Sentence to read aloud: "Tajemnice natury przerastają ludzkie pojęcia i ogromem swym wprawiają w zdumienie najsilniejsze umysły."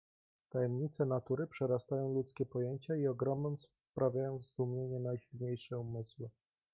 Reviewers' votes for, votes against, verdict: 1, 2, rejected